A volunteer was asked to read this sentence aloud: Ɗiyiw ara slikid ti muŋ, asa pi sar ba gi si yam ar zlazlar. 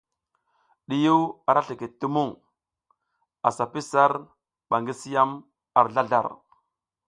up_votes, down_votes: 2, 0